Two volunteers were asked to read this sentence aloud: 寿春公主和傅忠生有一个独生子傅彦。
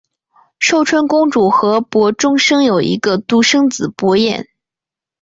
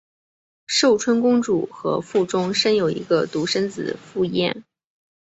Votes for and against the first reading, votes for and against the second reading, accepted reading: 2, 3, 2, 0, second